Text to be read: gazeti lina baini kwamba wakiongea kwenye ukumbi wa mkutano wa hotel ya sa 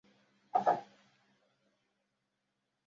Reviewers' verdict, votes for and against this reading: rejected, 0, 2